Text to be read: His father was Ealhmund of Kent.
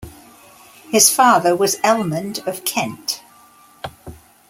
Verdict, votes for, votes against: accepted, 2, 0